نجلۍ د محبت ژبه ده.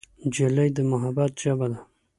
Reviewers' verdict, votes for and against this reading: accepted, 2, 0